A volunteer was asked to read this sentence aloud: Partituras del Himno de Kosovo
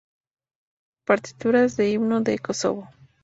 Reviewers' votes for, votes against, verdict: 0, 2, rejected